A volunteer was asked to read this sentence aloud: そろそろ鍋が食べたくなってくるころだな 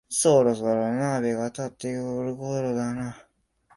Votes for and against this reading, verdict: 0, 2, rejected